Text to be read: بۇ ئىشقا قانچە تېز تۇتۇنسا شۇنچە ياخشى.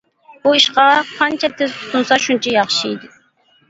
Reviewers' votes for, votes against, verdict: 1, 2, rejected